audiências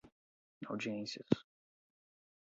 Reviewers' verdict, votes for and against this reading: accepted, 4, 0